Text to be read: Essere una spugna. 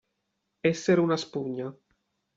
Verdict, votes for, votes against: accepted, 2, 0